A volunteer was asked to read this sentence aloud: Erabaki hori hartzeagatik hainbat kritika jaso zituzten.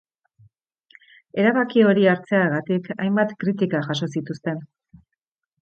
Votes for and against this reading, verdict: 3, 0, accepted